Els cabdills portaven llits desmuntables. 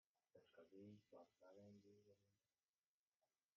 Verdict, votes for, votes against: rejected, 0, 2